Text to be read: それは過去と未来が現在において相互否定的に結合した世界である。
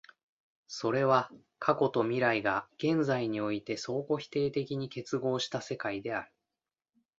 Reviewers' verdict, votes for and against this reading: accepted, 2, 0